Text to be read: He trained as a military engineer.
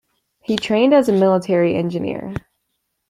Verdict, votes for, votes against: accepted, 2, 0